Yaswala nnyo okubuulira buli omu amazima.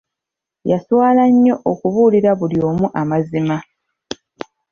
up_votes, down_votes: 2, 0